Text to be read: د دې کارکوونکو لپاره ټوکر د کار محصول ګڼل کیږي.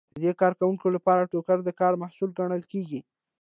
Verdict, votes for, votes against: accepted, 2, 0